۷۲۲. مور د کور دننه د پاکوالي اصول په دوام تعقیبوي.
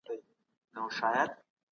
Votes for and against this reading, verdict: 0, 2, rejected